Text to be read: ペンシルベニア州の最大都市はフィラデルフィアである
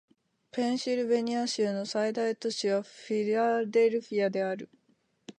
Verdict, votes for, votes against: accepted, 2, 1